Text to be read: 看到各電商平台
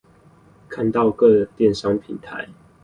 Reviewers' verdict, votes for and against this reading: rejected, 2, 2